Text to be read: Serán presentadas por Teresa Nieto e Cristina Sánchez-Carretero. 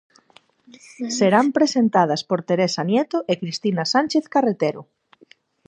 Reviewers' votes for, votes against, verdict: 0, 4, rejected